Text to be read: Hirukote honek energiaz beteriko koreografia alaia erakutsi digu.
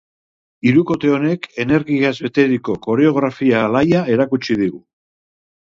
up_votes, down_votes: 2, 0